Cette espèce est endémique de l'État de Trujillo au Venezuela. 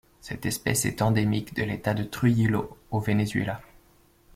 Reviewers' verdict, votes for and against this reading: accepted, 2, 0